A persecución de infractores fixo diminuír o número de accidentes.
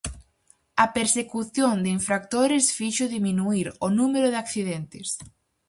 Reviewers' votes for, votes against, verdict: 4, 0, accepted